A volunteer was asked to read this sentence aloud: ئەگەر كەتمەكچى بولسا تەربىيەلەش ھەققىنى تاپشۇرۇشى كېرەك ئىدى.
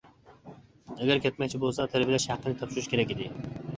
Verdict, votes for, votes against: rejected, 0, 2